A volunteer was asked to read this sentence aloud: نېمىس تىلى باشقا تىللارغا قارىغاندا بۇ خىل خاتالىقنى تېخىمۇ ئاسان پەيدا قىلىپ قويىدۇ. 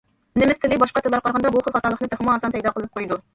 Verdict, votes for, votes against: accepted, 2, 1